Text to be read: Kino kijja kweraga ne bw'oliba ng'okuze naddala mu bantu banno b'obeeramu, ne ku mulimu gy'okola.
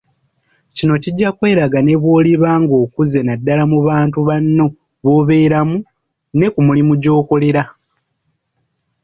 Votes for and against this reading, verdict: 0, 2, rejected